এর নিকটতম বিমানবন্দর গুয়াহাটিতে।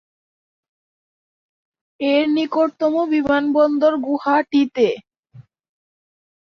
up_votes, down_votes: 2, 8